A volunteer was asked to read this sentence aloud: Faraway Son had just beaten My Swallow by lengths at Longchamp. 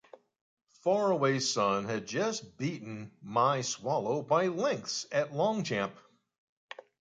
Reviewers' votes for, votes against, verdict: 2, 0, accepted